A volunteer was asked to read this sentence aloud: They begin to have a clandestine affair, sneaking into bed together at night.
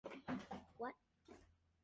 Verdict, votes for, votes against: rejected, 0, 2